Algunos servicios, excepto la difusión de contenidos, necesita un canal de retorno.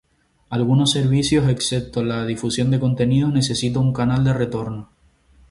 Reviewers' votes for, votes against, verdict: 2, 0, accepted